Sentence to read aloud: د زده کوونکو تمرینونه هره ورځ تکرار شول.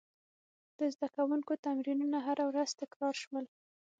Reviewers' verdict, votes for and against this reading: rejected, 3, 6